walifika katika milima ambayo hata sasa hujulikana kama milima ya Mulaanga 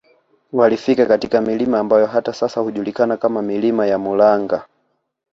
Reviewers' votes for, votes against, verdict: 2, 0, accepted